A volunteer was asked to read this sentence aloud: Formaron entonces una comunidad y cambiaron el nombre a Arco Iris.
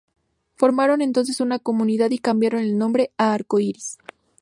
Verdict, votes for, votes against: accepted, 2, 0